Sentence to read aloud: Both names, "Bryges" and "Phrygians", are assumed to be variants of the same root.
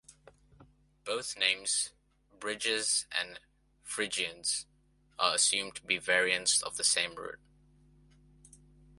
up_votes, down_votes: 0, 2